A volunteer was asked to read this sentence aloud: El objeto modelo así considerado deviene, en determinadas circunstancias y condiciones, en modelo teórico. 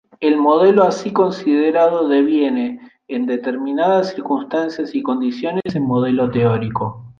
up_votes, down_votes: 1, 2